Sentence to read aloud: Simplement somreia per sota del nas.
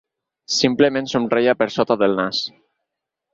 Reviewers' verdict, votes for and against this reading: accepted, 4, 0